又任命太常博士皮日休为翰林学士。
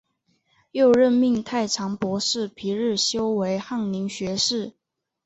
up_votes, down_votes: 2, 0